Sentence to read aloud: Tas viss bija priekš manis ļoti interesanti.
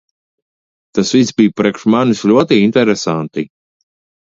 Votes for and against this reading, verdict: 2, 0, accepted